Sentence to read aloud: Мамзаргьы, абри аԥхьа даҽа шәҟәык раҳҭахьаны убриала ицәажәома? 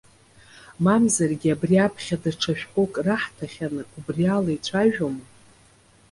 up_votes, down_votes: 0, 2